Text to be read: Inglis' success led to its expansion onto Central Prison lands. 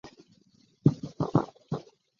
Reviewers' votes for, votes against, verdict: 0, 2, rejected